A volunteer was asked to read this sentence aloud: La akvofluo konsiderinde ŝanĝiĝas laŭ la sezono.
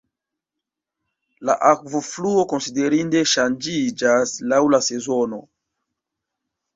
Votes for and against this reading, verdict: 1, 2, rejected